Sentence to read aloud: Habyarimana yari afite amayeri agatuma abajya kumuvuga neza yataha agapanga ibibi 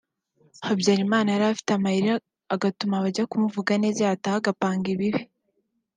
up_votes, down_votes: 2, 0